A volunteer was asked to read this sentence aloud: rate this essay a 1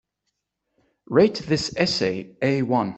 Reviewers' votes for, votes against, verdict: 0, 2, rejected